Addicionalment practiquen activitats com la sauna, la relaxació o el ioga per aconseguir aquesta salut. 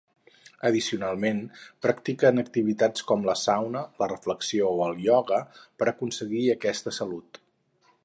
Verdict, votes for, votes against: rejected, 2, 4